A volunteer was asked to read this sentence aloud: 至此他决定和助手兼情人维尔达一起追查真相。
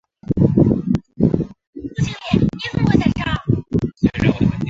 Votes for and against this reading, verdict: 2, 3, rejected